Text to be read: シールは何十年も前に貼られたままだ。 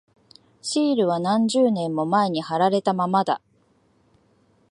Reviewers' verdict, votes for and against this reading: accepted, 2, 0